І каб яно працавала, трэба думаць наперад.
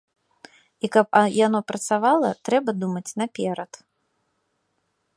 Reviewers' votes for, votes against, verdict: 0, 2, rejected